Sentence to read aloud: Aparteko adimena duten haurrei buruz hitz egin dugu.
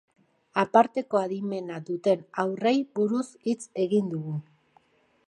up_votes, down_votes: 1, 2